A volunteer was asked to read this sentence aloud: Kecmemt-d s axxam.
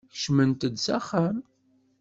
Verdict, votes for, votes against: accepted, 2, 0